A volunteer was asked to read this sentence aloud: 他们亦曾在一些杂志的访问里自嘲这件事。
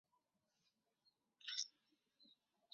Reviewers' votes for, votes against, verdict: 0, 2, rejected